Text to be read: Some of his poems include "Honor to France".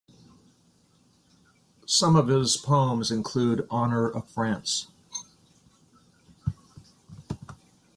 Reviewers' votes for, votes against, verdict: 0, 2, rejected